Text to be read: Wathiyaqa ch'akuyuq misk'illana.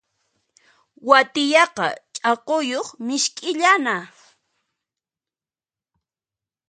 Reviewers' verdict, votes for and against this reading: rejected, 1, 2